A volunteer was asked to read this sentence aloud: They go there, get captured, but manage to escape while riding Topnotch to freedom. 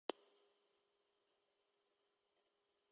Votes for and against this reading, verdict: 0, 2, rejected